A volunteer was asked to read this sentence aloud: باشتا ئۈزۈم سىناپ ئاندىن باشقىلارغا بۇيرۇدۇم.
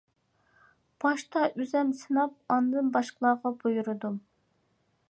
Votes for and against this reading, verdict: 2, 0, accepted